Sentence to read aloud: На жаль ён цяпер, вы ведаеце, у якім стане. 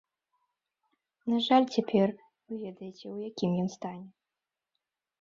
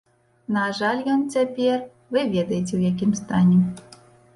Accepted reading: second